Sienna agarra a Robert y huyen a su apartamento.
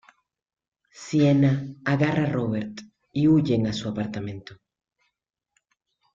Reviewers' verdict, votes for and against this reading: rejected, 0, 2